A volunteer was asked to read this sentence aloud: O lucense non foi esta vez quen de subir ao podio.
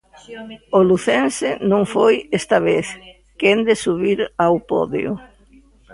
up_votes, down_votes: 2, 0